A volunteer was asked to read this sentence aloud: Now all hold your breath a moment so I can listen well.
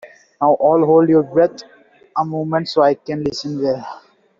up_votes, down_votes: 1, 2